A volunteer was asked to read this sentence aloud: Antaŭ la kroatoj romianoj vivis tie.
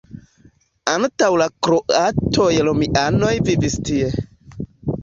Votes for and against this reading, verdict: 2, 0, accepted